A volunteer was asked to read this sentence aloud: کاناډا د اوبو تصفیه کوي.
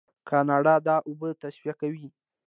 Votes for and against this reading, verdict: 1, 2, rejected